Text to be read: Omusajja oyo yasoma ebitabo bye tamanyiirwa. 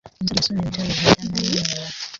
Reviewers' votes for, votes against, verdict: 0, 3, rejected